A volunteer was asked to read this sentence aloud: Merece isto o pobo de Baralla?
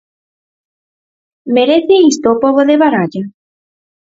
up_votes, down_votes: 4, 0